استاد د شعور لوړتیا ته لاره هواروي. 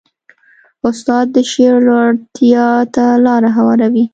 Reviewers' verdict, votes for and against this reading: accepted, 2, 0